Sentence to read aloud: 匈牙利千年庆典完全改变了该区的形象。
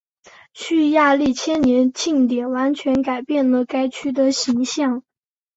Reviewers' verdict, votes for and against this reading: rejected, 0, 3